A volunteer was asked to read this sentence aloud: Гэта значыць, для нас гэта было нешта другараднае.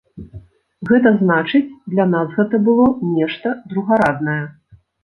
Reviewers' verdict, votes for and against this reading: accepted, 2, 0